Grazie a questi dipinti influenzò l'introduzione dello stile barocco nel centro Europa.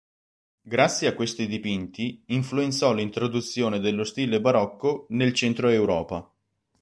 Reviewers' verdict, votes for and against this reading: accepted, 3, 0